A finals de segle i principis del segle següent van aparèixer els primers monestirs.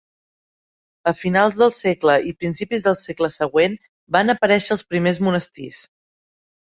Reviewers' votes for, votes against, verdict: 0, 2, rejected